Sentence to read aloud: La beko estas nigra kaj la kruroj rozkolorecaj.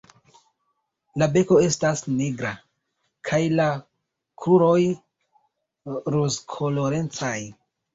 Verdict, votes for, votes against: rejected, 0, 2